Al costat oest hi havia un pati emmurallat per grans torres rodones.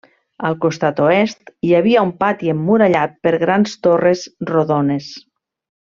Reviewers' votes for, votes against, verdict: 3, 0, accepted